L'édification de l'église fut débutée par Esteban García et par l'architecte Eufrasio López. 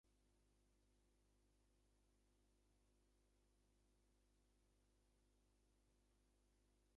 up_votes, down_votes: 0, 2